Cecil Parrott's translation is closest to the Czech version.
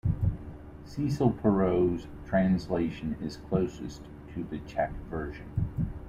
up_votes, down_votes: 0, 2